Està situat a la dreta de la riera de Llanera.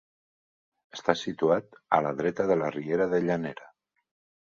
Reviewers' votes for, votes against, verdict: 3, 0, accepted